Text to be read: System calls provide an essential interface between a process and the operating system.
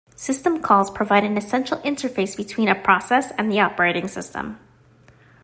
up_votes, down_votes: 2, 0